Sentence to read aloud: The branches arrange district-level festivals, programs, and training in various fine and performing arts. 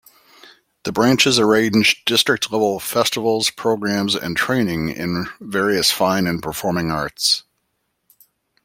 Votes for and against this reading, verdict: 0, 2, rejected